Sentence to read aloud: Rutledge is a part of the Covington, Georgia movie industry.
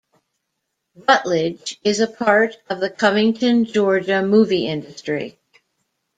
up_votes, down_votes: 1, 2